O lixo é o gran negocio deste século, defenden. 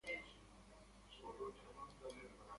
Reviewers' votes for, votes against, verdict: 0, 2, rejected